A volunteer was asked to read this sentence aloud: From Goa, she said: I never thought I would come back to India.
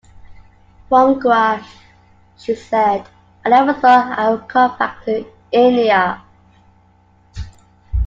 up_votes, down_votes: 2, 0